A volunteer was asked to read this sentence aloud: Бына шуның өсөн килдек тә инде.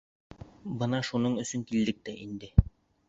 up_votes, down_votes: 3, 0